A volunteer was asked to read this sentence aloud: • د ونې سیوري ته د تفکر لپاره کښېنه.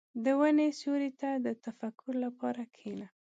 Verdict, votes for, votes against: accepted, 2, 0